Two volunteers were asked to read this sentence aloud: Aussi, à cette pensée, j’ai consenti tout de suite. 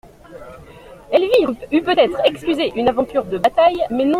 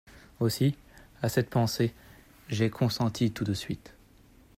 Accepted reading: second